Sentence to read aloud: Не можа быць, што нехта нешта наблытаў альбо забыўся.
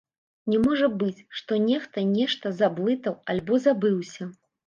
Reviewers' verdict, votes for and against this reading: rejected, 1, 2